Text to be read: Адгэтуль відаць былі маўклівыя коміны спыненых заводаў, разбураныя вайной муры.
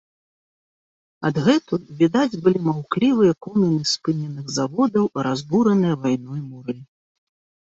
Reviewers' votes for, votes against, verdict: 2, 0, accepted